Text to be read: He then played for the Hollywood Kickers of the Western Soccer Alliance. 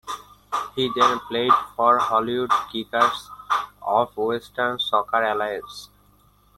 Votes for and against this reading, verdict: 0, 2, rejected